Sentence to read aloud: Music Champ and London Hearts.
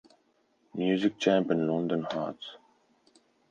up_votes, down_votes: 4, 0